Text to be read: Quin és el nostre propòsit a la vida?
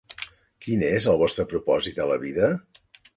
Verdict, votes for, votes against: rejected, 0, 2